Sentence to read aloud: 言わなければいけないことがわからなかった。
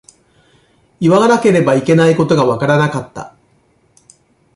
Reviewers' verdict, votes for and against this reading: rejected, 1, 2